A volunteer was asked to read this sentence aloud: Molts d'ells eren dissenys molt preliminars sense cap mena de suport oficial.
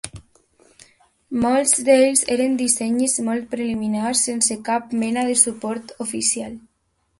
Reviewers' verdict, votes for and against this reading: accepted, 2, 0